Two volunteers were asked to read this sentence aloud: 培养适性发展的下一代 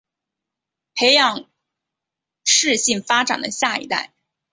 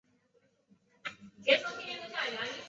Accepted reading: first